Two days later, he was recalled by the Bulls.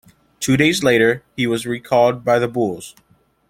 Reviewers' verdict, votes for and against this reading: accepted, 2, 0